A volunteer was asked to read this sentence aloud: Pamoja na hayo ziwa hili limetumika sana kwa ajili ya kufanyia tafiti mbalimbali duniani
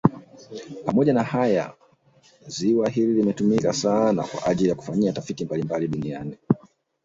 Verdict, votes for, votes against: rejected, 1, 2